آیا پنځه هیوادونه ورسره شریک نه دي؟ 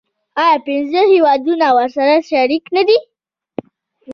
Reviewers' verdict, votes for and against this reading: accepted, 2, 0